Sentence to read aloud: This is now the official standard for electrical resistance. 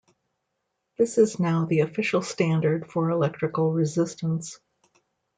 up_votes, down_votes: 2, 0